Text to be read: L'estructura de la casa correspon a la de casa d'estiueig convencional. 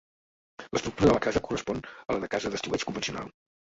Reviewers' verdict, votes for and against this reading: rejected, 1, 2